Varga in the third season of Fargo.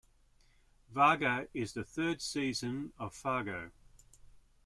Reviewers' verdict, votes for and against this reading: rejected, 1, 2